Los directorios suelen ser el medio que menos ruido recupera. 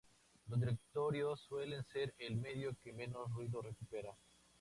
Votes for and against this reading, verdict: 2, 2, rejected